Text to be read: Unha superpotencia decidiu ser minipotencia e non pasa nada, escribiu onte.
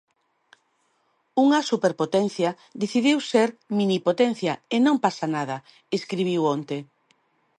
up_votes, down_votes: 2, 0